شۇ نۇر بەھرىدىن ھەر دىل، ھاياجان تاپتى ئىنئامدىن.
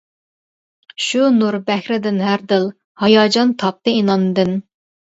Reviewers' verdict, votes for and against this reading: rejected, 1, 2